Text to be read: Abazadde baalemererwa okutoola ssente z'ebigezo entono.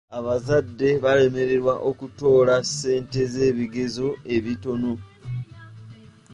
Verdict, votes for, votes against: rejected, 1, 2